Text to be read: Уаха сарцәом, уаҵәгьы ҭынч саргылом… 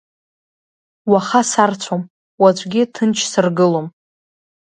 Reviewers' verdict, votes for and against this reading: rejected, 1, 2